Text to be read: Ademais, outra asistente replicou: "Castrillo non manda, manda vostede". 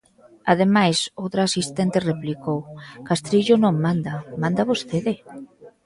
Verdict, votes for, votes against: accepted, 2, 0